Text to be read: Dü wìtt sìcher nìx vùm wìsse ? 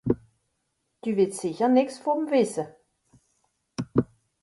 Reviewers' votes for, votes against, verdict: 1, 2, rejected